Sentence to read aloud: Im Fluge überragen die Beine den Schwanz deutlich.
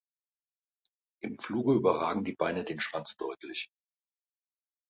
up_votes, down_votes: 2, 0